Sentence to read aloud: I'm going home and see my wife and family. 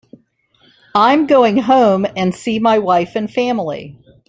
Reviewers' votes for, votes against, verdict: 3, 0, accepted